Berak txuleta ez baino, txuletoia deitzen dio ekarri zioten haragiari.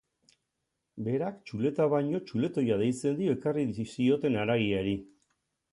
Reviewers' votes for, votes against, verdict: 0, 2, rejected